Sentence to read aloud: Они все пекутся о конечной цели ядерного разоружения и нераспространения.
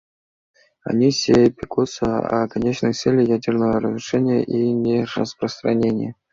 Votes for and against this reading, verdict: 1, 2, rejected